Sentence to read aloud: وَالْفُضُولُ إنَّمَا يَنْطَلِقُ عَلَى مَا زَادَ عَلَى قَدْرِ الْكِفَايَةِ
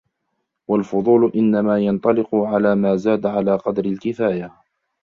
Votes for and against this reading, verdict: 0, 2, rejected